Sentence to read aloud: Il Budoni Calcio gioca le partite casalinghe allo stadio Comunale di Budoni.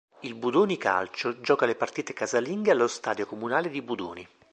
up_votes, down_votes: 3, 0